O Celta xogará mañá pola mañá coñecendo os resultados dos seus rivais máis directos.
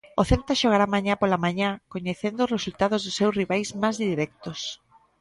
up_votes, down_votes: 1, 2